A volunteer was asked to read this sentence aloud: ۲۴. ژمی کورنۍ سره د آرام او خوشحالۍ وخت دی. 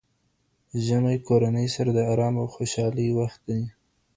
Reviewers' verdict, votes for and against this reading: rejected, 0, 2